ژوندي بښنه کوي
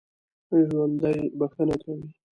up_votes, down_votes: 2, 0